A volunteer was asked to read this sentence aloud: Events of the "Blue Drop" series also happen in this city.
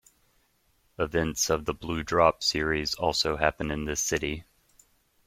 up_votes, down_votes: 2, 0